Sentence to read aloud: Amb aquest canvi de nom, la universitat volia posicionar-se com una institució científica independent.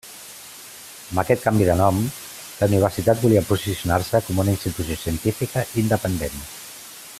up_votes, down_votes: 2, 0